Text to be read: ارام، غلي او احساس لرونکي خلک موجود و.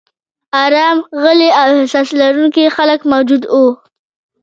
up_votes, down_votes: 1, 2